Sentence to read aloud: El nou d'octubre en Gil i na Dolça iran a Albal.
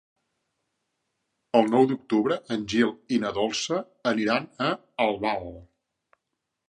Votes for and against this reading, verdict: 0, 2, rejected